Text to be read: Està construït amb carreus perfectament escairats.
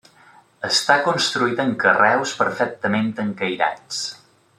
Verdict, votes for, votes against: rejected, 0, 2